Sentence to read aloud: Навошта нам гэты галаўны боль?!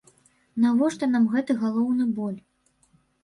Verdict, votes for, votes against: rejected, 1, 3